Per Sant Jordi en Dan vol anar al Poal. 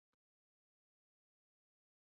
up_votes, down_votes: 0, 2